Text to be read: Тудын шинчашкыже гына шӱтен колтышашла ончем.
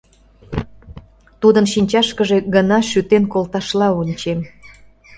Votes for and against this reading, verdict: 0, 2, rejected